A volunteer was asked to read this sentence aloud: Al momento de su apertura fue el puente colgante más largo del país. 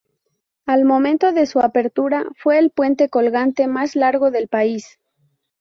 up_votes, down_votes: 2, 0